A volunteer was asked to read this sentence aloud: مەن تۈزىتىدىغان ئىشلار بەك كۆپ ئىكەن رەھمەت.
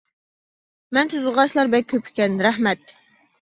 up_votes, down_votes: 1, 2